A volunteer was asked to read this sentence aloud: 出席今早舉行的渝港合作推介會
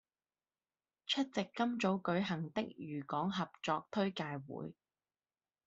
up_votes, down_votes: 2, 0